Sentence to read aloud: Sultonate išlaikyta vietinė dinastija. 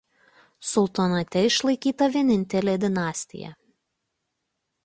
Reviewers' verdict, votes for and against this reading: rejected, 0, 2